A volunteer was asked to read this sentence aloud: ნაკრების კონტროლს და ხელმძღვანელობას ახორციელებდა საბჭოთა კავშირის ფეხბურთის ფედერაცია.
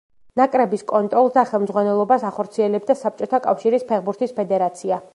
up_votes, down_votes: 2, 0